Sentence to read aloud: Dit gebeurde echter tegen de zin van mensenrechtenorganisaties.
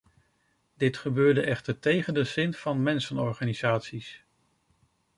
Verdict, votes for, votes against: rejected, 0, 2